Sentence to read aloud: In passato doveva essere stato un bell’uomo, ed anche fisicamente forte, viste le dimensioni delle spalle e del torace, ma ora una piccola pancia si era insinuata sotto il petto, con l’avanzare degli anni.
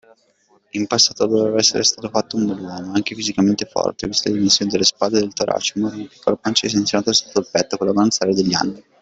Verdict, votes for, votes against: rejected, 0, 2